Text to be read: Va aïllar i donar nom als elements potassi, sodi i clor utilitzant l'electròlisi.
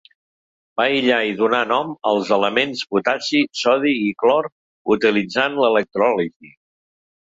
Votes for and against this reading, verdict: 0, 2, rejected